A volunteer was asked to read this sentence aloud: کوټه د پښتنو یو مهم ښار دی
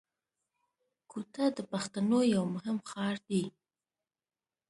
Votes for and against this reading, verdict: 1, 2, rejected